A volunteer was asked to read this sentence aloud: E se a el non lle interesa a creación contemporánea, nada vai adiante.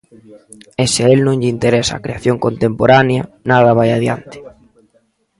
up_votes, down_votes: 2, 0